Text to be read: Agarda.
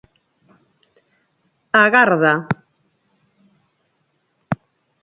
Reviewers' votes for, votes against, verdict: 4, 0, accepted